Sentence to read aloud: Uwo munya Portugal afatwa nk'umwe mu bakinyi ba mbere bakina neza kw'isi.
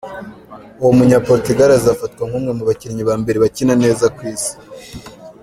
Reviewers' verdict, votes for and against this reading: rejected, 1, 2